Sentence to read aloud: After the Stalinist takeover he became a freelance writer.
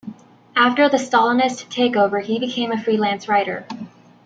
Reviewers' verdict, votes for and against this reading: accepted, 2, 1